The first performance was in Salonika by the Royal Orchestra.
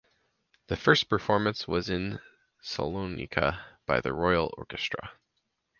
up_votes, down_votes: 2, 2